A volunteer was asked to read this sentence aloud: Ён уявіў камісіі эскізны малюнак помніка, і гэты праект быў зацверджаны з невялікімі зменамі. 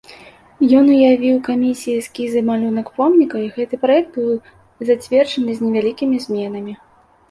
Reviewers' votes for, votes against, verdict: 1, 2, rejected